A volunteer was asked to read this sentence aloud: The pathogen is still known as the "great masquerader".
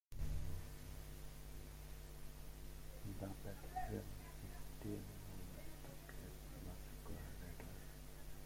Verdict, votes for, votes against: rejected, 0, 3